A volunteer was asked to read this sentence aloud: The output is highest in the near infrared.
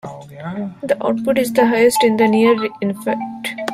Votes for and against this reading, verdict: 2, 1, accepted